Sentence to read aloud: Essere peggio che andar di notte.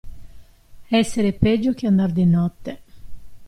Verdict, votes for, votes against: accepted, 2, 0